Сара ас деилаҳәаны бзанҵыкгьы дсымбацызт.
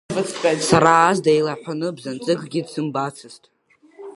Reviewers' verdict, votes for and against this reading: accepted, 2, 0